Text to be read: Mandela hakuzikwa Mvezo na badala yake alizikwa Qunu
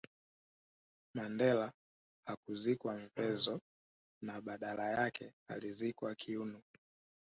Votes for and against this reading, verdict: 0, 3, rejected